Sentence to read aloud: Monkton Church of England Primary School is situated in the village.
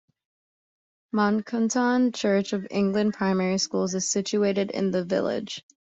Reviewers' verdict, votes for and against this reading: rejected, 0, 2